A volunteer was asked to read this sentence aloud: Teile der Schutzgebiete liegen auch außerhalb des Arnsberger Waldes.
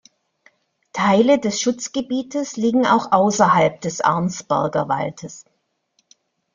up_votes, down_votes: 0, 2